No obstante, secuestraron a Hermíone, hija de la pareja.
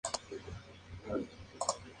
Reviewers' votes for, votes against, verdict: 0, 2, rejected